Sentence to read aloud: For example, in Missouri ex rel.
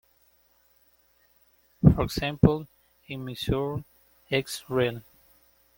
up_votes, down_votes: 1, 2